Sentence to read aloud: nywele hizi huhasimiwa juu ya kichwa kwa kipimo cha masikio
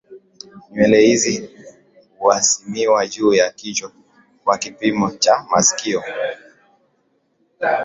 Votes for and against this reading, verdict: 2, 0, accepted